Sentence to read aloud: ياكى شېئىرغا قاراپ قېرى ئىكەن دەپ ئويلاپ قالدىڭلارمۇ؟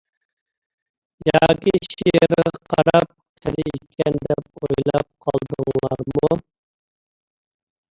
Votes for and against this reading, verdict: 0, 2, rejected